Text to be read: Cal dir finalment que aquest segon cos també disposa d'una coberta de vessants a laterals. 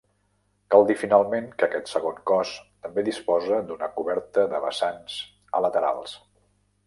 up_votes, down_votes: 0, 2